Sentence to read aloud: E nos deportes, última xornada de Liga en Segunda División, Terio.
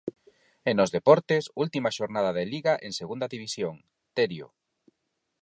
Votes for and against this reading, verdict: 4, 0, accepted